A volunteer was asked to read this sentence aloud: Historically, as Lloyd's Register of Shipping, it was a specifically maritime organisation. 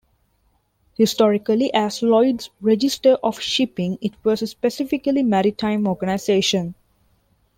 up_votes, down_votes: 2, 0